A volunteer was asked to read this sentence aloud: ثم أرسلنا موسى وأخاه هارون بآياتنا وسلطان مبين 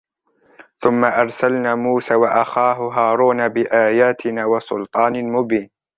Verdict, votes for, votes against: rejected, 1, 2